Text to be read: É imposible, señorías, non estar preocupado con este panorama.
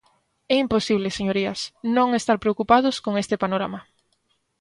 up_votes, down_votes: 2, 3